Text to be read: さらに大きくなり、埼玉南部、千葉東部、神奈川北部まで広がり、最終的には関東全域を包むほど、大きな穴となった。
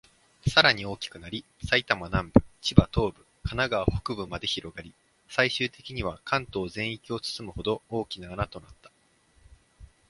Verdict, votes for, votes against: accepted, 2, 0